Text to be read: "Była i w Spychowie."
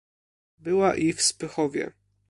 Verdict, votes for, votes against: accepted, 2, 0